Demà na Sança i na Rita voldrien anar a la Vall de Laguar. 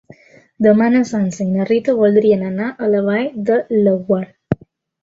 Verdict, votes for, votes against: accepted, 2, 0